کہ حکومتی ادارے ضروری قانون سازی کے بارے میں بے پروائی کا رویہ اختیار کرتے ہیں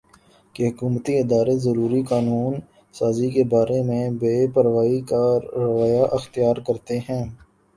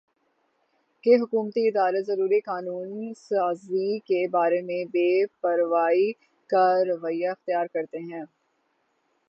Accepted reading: second